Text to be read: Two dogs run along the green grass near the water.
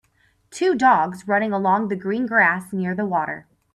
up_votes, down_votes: 3, 4